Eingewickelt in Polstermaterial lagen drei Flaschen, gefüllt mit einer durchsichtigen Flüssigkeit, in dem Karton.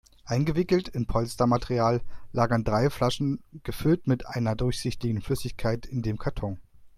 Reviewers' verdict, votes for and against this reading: rejected, 0, 2